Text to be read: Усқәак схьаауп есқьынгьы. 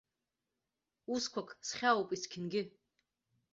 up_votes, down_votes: 3, 0